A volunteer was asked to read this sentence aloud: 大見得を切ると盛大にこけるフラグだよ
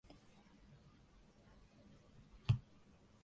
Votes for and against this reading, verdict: 0, 2, rejected